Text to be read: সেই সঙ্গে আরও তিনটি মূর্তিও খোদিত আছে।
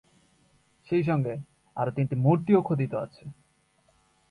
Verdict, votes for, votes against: rejected, 0, 2